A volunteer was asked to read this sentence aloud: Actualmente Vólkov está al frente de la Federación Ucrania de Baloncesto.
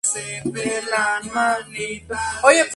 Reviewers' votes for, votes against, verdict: 0, 2, rejected